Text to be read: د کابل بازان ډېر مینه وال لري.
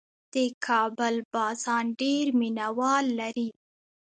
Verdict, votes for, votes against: rejected, 1, 2